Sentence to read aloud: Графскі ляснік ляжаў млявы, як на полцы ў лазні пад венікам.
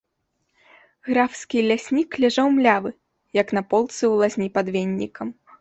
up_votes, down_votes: 0, 2